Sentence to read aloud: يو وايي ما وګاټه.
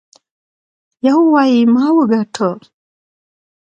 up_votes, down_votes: 2, 1